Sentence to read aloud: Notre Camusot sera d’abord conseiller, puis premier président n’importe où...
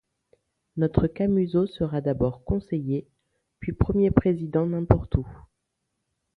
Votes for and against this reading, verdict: 2, 0, accepted